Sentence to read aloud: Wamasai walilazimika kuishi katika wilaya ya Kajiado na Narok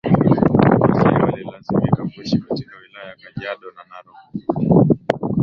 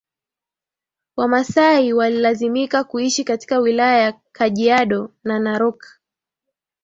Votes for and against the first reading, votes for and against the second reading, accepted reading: 0, 2, 2, 0, second